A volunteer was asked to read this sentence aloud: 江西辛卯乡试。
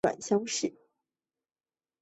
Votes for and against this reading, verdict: 1, 2, rejected